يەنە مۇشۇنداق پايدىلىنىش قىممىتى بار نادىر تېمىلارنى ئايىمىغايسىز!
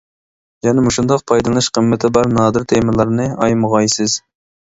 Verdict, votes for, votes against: accepted, 2, 0